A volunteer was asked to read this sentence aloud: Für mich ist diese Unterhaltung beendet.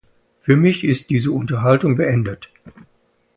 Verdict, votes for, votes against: accepted, 2, 0